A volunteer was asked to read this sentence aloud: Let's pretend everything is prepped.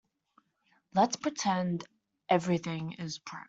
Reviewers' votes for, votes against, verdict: 0, 2, rejected